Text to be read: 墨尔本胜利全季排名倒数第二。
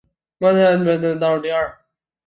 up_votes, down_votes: 0, 3